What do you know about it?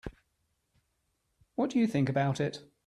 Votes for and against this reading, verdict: 0, 3, rejected